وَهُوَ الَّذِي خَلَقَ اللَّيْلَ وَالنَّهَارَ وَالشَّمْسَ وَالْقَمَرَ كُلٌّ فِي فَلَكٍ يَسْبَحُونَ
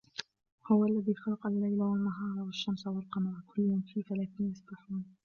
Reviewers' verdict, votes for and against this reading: rejected, 0, 2